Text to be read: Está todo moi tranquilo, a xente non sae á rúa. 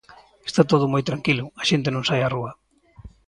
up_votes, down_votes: 2, 0